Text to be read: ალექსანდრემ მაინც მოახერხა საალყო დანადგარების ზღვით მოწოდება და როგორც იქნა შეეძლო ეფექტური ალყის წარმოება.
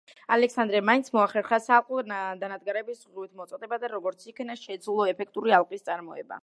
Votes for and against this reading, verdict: 1, 2, rejected